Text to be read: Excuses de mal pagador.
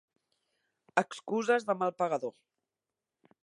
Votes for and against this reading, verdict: 2, 1, accepted